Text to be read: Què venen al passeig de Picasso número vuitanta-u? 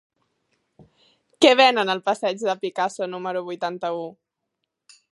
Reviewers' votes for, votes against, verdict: 4, 0, accepted